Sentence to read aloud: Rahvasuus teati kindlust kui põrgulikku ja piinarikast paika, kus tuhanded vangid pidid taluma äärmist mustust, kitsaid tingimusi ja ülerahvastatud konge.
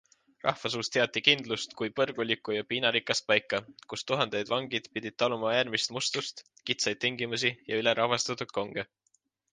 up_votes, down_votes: 2, 0